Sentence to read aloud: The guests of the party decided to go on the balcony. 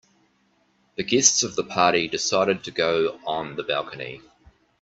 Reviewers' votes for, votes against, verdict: 2, 0, accepted